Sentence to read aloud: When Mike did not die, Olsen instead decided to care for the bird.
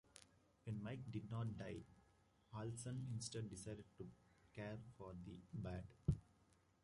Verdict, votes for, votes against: rejected, 1, 2